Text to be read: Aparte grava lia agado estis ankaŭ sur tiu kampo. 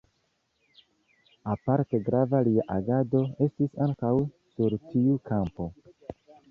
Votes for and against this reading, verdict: 2, 0, accepted